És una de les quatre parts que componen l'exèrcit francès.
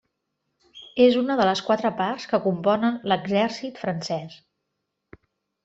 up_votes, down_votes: 3, 0